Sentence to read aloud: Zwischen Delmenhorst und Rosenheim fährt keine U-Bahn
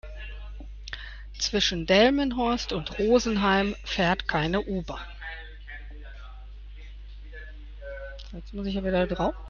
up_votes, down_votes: 0, 2